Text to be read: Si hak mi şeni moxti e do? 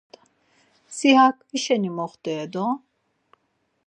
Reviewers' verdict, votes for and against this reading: accepted, 4, 0